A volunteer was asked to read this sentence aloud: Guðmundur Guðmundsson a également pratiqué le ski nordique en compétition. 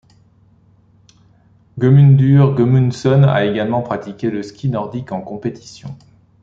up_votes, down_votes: 2, 0